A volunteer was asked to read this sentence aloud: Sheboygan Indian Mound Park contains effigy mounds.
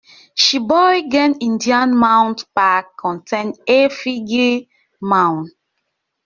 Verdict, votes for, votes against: rejected, 1, 2